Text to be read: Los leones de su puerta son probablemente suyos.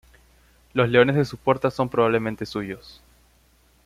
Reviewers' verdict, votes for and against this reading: accepted, 2, 0